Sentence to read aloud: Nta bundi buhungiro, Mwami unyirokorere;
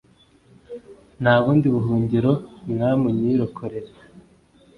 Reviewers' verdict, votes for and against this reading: accepted, 2, 0